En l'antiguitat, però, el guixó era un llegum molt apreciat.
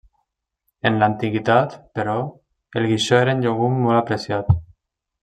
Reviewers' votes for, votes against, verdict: 2, 0, accepted